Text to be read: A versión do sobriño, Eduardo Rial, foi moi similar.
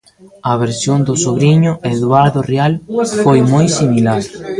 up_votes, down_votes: 1, 2